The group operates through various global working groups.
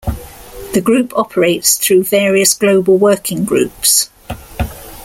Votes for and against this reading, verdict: 1, 2, rejected